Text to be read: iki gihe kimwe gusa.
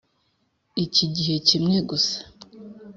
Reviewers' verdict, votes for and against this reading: accepted, 3, 0